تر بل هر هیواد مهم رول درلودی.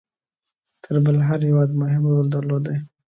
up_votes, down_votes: 2, 0